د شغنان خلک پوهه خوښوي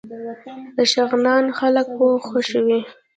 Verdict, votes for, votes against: accepted, 2, 0